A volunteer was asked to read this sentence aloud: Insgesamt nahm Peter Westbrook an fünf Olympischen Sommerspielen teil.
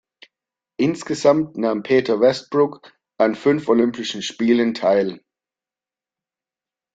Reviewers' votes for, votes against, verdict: 2, 0, accepted